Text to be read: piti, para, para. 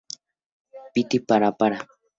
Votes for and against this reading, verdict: 2, 0, accepted